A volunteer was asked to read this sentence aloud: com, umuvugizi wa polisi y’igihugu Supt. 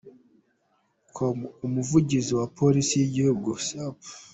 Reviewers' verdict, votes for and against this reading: accepted, 2, 0